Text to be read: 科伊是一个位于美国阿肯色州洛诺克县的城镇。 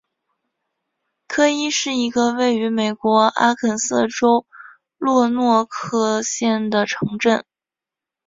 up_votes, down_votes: 2, 0